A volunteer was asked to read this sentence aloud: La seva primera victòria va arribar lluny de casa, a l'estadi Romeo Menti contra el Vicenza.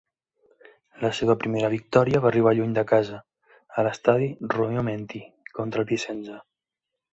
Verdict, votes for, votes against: accepted, 2, 1